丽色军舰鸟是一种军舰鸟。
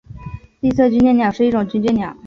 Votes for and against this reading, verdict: 2, 0, accepted